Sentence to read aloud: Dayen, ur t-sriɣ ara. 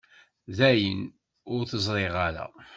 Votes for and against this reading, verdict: 1, 2, rejected